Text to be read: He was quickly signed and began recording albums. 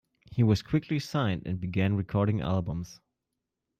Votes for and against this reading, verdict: 2, 0, accepted